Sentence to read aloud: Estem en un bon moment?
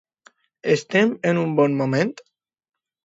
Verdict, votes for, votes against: accepted, 2, 0